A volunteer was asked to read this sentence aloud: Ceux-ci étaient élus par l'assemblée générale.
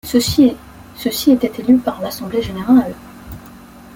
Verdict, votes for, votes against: rejected, 0, 2